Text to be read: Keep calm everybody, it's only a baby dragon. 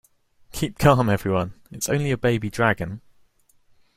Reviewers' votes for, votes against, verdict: 0, 2, rejected